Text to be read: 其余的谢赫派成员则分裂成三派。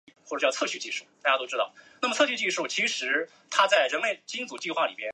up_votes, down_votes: 1, 5